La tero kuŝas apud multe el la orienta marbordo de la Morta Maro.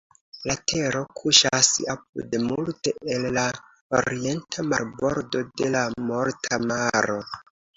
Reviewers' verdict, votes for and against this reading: accepted, 2, 0